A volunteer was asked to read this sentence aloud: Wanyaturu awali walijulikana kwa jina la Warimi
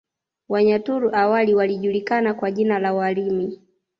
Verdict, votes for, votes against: accepted, 2, 0